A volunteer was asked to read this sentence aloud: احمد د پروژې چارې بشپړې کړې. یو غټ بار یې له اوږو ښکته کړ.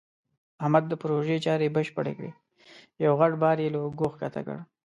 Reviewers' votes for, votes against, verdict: 5, 1, accepted